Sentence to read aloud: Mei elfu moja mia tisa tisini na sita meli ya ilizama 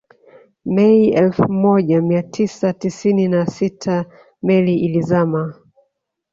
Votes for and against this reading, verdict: 2, 3, rejected